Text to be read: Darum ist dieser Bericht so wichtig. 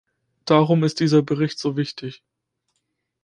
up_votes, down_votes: 2, 1